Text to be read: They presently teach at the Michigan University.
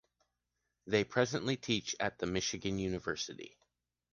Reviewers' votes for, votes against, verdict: 2, 0, accepted